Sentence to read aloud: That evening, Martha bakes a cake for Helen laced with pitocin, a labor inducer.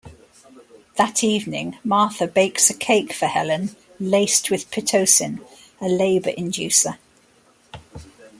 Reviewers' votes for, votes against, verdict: 2, 0, accepted